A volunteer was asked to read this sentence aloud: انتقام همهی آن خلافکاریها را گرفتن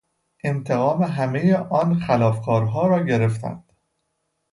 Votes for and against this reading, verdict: 0, 2, rejected